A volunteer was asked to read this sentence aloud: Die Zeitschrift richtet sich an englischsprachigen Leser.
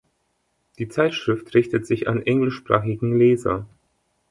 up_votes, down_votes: 3, 0